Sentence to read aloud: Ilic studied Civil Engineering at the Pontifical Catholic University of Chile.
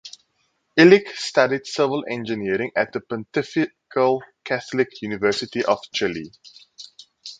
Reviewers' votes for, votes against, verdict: 2, 4, rejected